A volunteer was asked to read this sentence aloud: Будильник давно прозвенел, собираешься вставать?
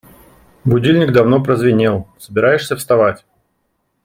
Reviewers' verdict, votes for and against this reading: accepted, 2, 0